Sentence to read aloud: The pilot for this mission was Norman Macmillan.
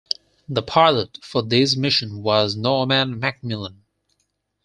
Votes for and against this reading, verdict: 4, 0, accepted